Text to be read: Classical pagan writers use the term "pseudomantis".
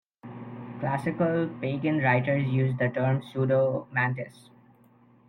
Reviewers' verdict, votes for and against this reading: accepted, 2, 0